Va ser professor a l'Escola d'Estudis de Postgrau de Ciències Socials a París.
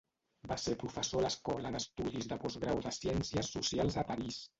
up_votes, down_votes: 1, 2